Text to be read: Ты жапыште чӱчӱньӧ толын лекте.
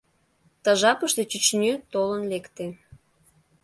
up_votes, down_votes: 1, 2